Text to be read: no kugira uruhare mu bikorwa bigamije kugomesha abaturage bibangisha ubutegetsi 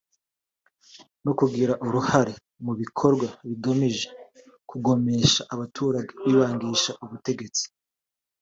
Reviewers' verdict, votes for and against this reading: accepted, 2, 1